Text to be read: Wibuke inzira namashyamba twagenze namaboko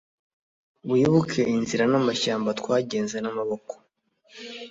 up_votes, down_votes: 2, 0